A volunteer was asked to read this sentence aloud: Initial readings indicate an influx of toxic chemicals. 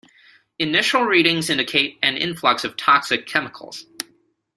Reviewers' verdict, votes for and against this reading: accepted, 2, 0